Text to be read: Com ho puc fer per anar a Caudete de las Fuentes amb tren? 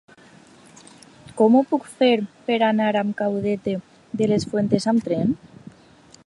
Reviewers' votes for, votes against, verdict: 2, 1, accepted